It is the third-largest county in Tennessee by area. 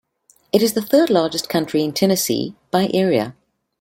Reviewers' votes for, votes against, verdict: 1, 2, rejected